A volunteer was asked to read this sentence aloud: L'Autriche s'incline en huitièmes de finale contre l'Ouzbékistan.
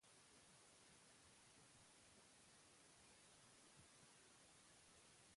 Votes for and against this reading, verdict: 1, 2, rejected